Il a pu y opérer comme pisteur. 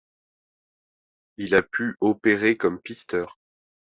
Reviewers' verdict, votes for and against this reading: rejected, 1, 2